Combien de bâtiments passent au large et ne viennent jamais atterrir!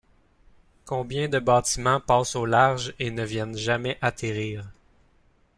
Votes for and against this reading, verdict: 2, 0, accepted